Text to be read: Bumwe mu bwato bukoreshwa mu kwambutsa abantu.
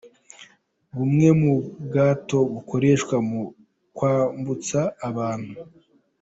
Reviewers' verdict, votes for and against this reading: accepted, 2, 0